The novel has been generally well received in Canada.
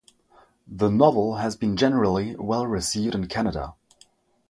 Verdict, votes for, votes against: rejected, 0, 3